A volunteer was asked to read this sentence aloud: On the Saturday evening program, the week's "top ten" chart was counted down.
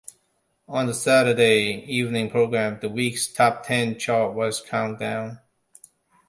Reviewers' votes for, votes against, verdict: 0, 2, rejected